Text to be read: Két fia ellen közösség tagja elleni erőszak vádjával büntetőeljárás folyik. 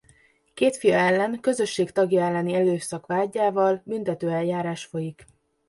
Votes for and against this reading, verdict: 2, 1, accepted